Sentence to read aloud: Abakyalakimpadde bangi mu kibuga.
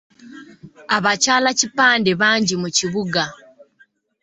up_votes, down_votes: 0, 2